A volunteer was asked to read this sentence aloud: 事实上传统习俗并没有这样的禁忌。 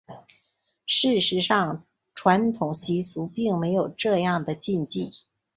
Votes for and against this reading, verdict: 2, 0, accepted